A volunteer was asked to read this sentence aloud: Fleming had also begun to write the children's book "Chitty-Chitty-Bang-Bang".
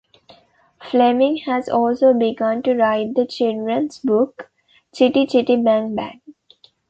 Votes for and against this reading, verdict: 1, 2, rejected